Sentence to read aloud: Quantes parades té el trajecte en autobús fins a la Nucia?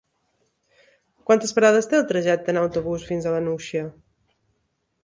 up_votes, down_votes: 4, 0